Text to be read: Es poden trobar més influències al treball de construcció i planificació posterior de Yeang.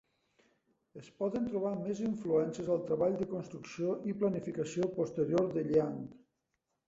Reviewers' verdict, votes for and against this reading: accepted, 2, 1